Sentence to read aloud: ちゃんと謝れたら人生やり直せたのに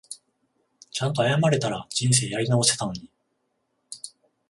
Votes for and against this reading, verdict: 14, 0, accepted